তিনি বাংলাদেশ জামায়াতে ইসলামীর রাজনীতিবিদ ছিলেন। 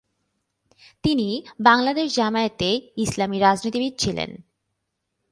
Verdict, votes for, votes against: accepted, 18, 3